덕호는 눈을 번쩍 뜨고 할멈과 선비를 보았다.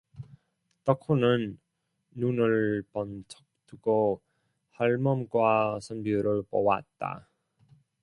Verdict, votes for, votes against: rejected, 0, 2